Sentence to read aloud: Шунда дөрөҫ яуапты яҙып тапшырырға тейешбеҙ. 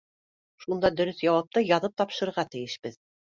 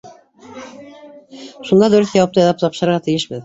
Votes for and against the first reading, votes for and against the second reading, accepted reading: 2, 0, 0, 2, first